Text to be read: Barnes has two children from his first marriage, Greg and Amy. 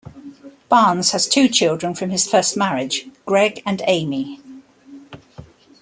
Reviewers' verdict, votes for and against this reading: accepted, 2, 0